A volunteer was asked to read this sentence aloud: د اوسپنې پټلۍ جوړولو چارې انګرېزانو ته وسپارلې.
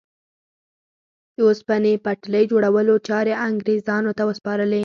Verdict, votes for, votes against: accepted, 4, 0